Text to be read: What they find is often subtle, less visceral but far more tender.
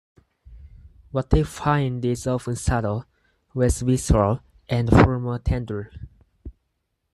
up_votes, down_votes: 0, 4